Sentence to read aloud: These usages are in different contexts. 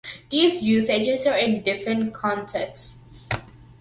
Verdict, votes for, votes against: accepted, 2, 1